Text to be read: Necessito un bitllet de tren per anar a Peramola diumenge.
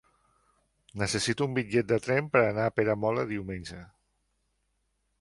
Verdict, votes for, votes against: accepted, 3, 0